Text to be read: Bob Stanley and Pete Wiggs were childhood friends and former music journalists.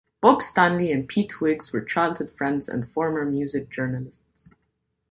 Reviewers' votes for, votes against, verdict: 2, 1, accepted